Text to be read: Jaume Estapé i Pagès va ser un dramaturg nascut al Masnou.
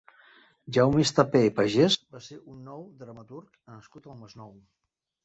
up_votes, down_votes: 0, 2